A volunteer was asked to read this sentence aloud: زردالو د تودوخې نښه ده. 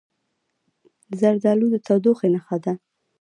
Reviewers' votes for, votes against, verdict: 0, 2, rejected